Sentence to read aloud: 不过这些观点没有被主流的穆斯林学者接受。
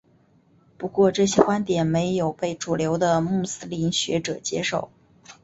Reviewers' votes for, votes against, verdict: 3, 0, accepted